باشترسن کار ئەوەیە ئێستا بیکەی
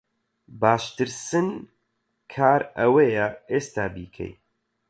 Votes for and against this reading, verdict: 4, 4, rejected